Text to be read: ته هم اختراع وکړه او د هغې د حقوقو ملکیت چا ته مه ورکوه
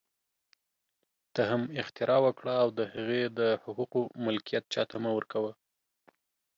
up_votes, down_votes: 2, 0